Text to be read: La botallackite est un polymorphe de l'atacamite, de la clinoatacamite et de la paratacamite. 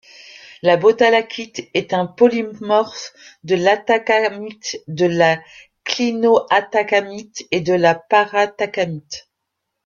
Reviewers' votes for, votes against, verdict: 1, 2, rejected